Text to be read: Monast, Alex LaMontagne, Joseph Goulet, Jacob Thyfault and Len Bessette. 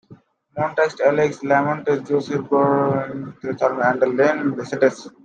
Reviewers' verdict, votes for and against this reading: rejected, 0, 2